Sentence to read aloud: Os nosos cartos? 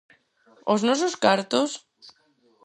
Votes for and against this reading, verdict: 4, 0, accepted